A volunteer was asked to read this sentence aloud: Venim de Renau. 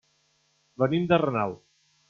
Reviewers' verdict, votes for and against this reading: accepted, 3, 0